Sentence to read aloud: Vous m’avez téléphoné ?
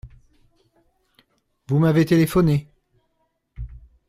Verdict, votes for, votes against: accepted, 2, 0